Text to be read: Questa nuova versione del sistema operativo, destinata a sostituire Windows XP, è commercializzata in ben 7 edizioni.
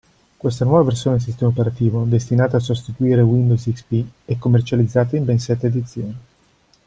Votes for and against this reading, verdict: 0, 2, rejected